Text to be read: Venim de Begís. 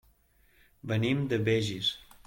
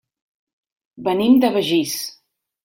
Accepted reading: second